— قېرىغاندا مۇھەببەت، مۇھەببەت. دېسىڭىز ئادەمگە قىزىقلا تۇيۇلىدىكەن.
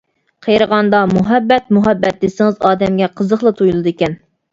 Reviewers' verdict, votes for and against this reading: accepted, 2, 0